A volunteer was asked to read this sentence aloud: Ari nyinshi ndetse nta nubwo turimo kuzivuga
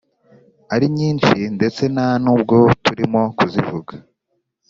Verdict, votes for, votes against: accepted, 4, 0